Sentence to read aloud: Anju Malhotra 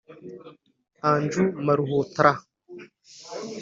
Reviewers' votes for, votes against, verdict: 1, 2, rejected